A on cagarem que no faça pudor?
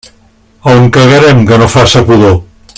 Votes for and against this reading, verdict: 2, 0, accepted